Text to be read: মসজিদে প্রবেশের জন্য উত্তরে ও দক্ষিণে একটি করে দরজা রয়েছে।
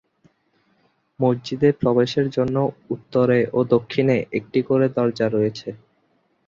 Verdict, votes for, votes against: accepted, 2, 0